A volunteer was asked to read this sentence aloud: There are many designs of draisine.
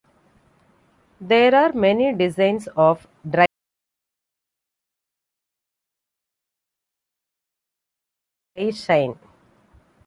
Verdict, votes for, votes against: rejected, 0, 2